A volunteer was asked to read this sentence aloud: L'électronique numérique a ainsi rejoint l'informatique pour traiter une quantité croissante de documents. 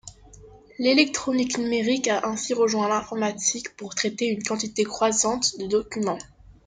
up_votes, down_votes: 2, 0